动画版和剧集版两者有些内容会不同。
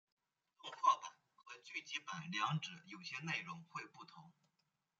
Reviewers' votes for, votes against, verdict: 0, 2, rejected